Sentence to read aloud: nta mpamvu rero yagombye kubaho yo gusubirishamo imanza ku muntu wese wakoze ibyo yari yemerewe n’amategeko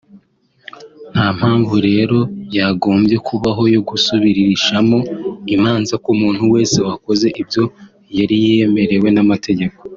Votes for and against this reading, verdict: 3, 0, accepted